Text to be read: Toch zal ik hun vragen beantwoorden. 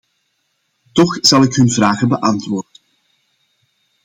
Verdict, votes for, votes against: accepted, 2, 0